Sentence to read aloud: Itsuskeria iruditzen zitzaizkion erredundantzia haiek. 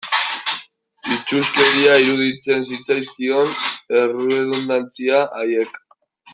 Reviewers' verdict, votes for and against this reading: rejected, 0, 2